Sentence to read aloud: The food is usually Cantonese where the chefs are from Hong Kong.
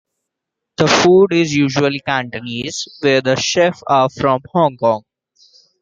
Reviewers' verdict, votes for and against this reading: accepted, 2, 1